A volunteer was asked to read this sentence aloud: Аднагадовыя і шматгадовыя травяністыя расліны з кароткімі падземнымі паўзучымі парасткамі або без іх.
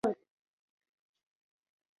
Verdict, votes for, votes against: rejected, 0, 2